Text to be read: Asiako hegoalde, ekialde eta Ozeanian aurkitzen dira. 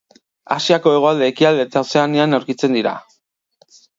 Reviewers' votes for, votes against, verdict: 3, 1, accepted